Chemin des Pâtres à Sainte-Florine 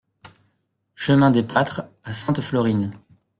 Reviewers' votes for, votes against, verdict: 1, 2, rejected